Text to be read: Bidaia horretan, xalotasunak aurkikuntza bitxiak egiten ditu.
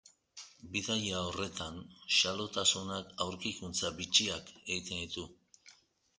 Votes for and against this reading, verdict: 0, 2, rejected